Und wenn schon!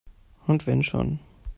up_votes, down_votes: 2, 0